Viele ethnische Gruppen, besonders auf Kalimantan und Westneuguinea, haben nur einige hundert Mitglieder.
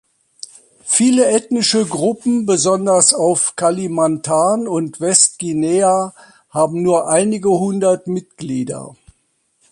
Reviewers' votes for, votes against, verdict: 0, 2, rejected